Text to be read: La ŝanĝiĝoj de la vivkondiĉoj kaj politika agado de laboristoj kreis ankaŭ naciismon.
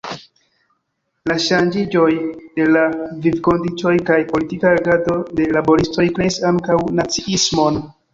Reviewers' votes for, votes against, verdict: 2, 0, accepted